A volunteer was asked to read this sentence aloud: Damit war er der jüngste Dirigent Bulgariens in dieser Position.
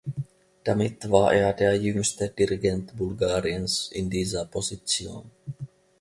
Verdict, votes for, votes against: accepted, 2, 0